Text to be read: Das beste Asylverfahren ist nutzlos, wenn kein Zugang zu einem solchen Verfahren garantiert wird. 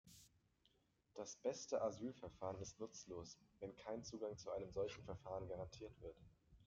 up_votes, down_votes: 0, 2